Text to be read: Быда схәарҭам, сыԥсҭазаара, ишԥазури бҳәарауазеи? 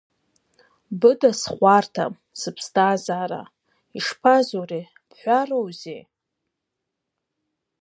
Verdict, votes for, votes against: rejected, 2, 15